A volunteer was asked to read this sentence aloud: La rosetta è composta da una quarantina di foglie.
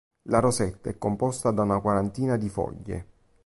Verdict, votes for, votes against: accepted, 2, 0